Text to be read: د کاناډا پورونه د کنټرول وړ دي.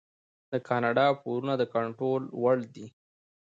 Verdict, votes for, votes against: rejected, 0, 2